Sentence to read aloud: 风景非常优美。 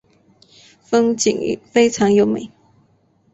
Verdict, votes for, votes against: accepted, 3, 0